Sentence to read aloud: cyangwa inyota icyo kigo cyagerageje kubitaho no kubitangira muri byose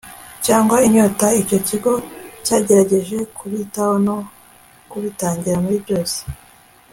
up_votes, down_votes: 2, 0